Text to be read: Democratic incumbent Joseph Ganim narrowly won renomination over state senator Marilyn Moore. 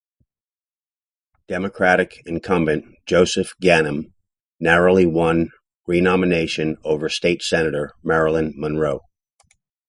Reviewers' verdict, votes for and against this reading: rejected, 1, 2